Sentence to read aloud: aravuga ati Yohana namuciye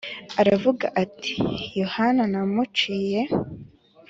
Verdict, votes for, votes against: accepted, 2, 0